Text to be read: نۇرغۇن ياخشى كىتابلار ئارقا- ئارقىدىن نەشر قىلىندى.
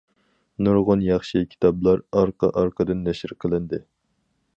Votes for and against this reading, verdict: 4, 0, accepted